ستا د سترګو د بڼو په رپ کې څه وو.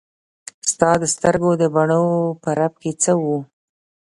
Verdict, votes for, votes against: rejected, 1, 2